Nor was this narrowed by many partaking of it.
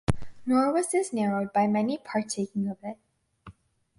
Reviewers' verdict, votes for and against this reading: accepted, 4, 0